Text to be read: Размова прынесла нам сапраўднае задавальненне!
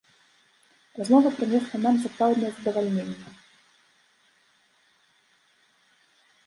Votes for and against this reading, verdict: 2, 0, accepted